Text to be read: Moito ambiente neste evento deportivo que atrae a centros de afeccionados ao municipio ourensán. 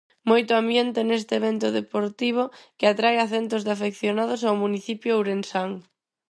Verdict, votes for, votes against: accepted, 4, 0